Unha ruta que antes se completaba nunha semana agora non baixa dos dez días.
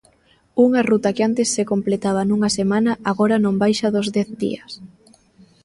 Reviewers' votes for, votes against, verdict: 3, 0, accepted